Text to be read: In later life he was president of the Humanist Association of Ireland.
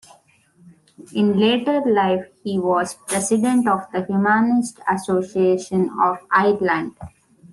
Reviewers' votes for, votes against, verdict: 2, 1, accepted